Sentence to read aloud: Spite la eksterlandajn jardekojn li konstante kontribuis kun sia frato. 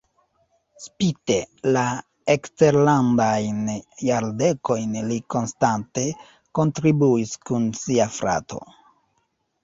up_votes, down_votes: 0, 2